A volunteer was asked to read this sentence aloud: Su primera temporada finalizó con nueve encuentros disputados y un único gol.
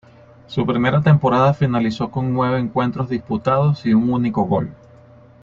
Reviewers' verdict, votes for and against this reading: accepted, 2, 0